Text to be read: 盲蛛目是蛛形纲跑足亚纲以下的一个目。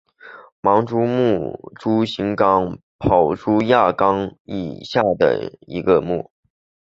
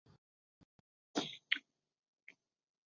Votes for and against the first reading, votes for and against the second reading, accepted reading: 2, 0, 0, 3, first